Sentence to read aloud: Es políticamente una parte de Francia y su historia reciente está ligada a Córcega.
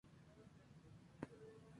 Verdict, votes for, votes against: rejected, 0, 2